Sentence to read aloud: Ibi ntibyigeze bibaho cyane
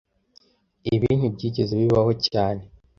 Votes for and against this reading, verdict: 2, 0, accepted